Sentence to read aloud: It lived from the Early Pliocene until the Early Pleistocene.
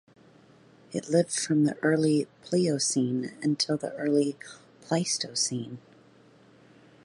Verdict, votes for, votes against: accepted, 2, 0